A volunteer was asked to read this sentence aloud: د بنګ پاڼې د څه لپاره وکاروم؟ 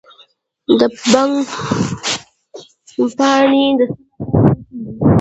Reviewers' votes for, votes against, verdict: 0, 3, rejected